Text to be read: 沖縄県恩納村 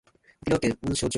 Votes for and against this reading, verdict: 0, 2, rejected